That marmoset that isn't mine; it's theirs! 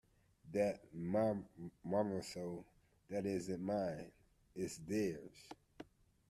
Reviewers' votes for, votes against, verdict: 0, 3, rejected